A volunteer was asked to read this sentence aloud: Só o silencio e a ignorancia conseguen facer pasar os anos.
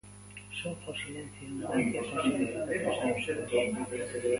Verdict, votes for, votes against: rejected, 0, 2